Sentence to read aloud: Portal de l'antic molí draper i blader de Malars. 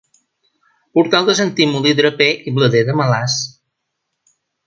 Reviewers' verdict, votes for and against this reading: rejected, 0, 2